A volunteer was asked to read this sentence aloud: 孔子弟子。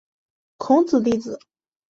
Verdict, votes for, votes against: accepted, 4, 1